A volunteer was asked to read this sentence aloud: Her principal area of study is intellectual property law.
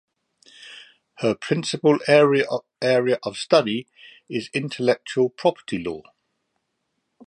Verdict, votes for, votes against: rejected, 0, 2